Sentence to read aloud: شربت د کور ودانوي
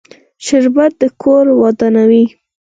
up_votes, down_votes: 0, 4